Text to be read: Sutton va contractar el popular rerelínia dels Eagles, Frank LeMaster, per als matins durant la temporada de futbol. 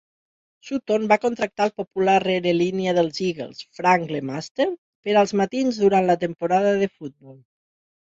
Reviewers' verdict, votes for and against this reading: rejected, 2, 6